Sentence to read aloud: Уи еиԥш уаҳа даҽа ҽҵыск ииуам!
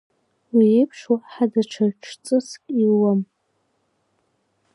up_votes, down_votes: 1, 2